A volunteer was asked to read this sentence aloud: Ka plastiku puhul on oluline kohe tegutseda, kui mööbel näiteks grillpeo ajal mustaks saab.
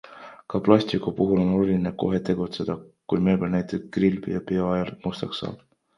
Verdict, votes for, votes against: accepted, 2, 1